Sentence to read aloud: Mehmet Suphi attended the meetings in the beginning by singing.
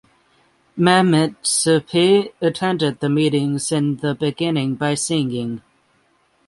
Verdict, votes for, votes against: accepted, 6, 3